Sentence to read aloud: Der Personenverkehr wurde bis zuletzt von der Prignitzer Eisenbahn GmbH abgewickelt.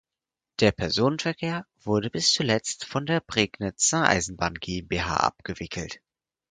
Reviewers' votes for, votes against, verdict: 4, 0, accepted